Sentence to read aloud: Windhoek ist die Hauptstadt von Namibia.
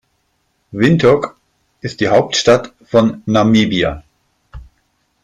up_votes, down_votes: 5, 0